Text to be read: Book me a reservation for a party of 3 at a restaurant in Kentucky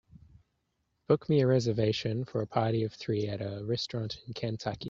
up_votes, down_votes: 0, 2